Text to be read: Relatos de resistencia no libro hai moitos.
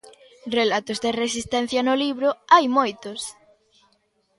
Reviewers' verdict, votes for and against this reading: accepted, 2, 0